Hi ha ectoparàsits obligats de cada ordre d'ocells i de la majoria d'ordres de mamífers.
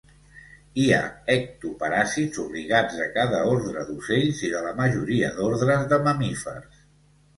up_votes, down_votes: 2, 1